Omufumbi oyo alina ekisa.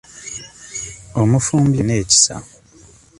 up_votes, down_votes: 0, 2